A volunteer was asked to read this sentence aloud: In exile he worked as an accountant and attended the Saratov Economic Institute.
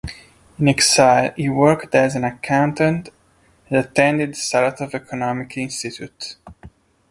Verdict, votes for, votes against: rejected, 1, 2